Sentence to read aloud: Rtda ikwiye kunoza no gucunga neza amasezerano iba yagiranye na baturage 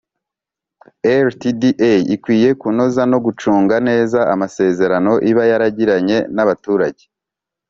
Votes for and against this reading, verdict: 2, 0, accepted